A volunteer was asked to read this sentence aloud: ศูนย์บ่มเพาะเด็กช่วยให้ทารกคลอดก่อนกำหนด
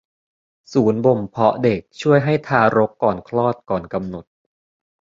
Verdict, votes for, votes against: rejected, 0, 2